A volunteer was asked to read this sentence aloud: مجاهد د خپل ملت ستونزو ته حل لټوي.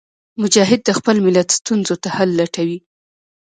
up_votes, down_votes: 1, 2